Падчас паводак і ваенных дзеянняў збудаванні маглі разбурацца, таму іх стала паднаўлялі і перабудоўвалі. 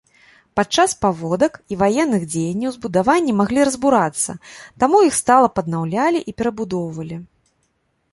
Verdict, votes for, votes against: accepted, 2, 0